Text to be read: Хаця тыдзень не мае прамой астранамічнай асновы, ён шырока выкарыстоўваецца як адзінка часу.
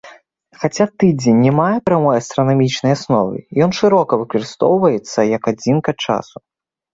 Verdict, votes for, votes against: accepted, 2, 0